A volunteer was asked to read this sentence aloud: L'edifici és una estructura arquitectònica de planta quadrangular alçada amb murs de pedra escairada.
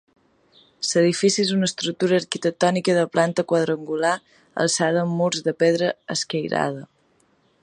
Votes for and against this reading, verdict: 1, 2, rejected